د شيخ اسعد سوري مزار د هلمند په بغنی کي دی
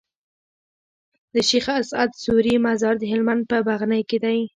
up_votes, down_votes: 0, 2